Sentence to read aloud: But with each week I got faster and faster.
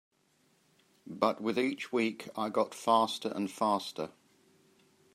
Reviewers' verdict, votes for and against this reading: accepted, 3, 0